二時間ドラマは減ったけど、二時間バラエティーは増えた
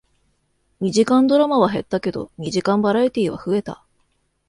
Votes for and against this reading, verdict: 2, 0, accepted